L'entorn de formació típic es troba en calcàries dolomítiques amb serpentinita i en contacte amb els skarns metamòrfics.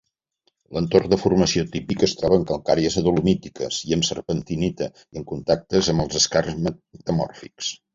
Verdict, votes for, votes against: rejected, 1, 2